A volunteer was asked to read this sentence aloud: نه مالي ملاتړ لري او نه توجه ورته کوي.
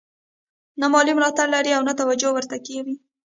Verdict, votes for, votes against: rejected, 0, 2